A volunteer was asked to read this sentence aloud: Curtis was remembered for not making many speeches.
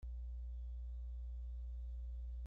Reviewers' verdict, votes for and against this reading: rejected, 0, 2